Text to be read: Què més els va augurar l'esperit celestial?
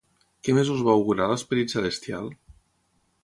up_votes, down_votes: 0, 6